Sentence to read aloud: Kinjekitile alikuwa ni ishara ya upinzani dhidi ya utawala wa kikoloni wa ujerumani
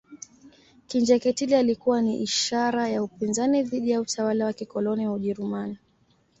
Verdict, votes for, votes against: accepted, 2, 0